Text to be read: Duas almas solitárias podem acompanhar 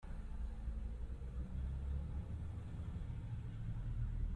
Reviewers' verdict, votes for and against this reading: rejected, 0, 2